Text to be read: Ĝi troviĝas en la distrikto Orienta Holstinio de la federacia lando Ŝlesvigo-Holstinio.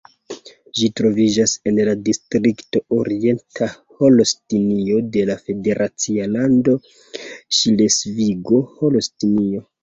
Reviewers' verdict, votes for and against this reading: rejected, 1, 2